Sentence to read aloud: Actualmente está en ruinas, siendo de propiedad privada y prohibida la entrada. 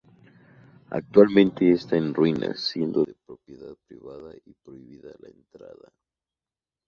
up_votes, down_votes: 0, 2